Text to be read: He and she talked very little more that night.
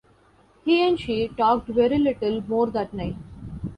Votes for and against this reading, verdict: 2, 0, accepted